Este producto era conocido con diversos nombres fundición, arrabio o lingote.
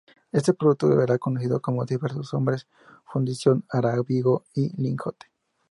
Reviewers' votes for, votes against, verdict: 0, 2, rejected